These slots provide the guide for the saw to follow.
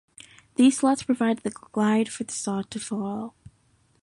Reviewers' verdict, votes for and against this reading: rejected, 0, 2